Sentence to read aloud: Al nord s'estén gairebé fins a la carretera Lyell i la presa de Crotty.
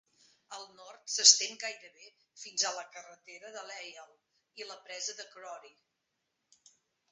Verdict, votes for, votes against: rejected, 1, 2